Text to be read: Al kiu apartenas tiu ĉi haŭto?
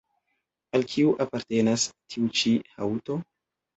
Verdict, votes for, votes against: accepted, 2, 0